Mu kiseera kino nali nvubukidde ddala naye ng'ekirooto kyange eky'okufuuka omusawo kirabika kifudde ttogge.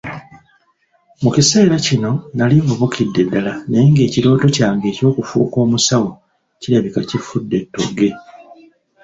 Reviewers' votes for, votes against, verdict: 2, 0, accepted